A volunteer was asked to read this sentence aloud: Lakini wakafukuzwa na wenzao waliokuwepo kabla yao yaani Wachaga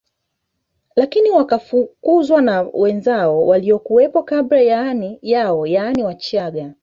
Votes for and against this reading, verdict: 2, 1, accepted